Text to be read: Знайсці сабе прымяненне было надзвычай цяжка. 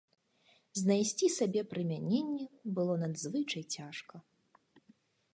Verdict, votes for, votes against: accepted, 4, 0